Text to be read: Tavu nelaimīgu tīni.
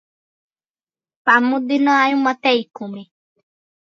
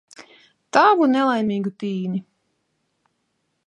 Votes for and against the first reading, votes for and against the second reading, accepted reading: 0, 2, 2, 0, second